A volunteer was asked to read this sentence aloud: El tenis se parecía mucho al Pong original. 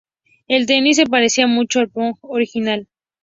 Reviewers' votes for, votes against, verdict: 0, 2, rejected